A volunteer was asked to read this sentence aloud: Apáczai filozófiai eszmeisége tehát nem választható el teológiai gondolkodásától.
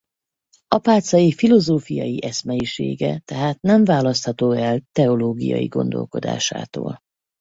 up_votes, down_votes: 4, 0